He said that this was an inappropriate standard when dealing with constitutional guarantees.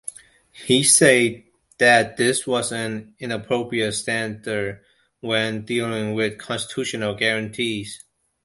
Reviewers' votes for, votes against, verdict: 1, 2, rejected